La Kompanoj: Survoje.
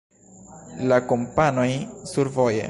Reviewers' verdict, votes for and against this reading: rejected, 1, 2